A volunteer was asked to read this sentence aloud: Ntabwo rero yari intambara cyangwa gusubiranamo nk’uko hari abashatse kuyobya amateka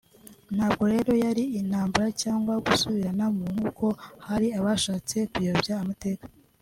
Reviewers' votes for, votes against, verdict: 2, 0, accepted